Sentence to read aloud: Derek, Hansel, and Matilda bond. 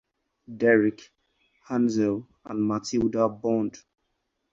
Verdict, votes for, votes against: accepted, 4, 2